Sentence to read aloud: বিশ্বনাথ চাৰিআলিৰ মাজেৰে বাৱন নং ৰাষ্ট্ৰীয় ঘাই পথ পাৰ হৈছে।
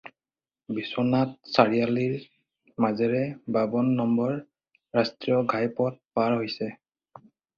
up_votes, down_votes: 2, 4